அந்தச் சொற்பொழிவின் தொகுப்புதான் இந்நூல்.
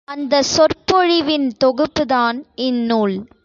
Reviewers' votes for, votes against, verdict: 2, 0, accepted